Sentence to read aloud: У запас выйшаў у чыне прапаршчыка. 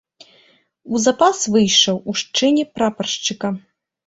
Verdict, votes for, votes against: rejected, 0, 2